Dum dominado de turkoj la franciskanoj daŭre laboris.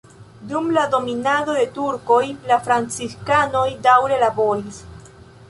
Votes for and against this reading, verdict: 2, 0, accepted